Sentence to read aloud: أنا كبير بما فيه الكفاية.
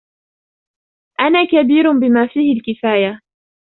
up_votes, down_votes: 2, 0